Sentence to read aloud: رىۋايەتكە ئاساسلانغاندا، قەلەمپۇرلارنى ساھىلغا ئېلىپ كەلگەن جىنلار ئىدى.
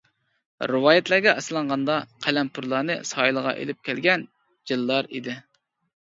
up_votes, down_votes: 1, 2